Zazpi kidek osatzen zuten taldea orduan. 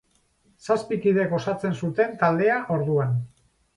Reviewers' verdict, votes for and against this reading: accepted, 2, 0